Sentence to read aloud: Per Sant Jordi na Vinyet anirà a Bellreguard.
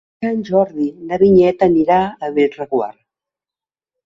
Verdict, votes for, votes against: rejected, 0, 2